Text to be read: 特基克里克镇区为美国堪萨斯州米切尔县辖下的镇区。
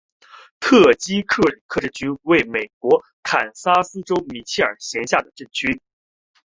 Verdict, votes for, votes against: accepted, 3, 1